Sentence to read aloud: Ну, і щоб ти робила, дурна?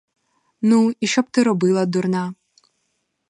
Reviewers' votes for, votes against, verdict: 4, 0, accepted